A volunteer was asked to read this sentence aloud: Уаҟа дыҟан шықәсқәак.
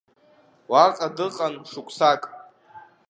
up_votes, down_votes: 1, 2